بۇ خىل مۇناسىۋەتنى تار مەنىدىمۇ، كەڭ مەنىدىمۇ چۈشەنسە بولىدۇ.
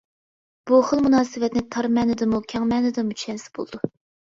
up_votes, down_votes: 2, 0